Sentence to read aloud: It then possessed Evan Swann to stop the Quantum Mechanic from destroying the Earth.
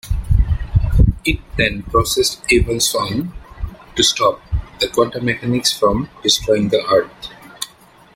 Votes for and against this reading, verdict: 0, 2, rejected